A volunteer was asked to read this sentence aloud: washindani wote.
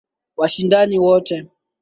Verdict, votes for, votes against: accepted, 2, 0